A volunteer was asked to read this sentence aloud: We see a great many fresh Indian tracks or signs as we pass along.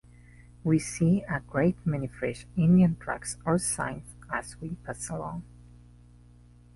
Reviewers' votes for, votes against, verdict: 2, 0, accepted